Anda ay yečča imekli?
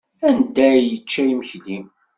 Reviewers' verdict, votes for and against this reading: accepted, 2, 0